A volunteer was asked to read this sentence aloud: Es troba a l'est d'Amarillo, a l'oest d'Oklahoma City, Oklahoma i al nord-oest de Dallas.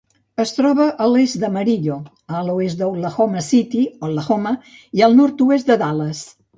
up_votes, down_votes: 1, 2